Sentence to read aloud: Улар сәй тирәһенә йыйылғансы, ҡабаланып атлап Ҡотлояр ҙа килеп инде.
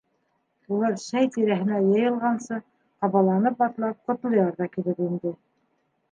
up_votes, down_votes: 2, 0